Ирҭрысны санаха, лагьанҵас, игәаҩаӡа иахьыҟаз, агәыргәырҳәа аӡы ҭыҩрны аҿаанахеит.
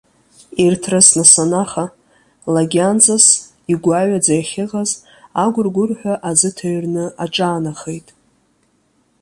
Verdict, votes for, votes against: accepted, 2, 0